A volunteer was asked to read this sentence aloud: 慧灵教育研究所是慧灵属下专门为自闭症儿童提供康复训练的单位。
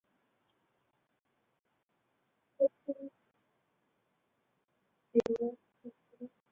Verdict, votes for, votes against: rejected, 0, 3